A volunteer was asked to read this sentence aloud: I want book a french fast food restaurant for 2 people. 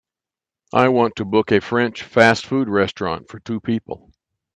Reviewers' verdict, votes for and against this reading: rejected, 0, 2